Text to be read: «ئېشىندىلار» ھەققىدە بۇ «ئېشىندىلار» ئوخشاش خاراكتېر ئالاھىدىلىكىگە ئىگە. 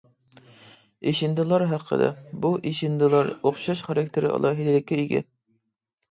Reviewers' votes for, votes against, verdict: 2, 1, accepted